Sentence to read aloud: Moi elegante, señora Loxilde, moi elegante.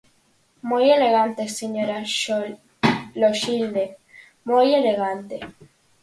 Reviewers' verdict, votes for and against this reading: rejected, 0, 6